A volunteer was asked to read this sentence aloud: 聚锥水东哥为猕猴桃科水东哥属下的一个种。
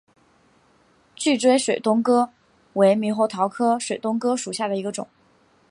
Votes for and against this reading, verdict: 2, 0, accepted